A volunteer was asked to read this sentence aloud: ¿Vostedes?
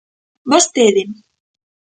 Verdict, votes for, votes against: rejected, 1, 2